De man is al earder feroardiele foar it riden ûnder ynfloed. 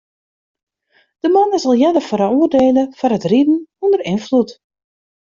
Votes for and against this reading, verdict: 0, 2, rejected